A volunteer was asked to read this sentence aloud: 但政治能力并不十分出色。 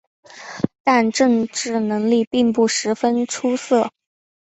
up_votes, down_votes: 3, 0